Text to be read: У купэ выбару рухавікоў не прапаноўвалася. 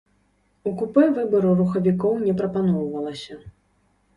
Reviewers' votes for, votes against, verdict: 2, 0, accepted